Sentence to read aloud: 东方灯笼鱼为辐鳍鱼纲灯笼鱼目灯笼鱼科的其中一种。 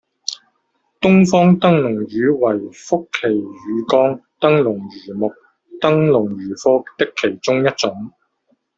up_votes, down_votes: 1, 2